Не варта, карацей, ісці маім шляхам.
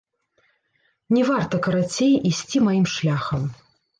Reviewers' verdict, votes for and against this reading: rejected, 1, 3